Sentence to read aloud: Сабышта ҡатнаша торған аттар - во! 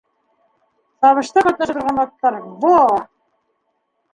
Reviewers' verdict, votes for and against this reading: rejected, 1, 2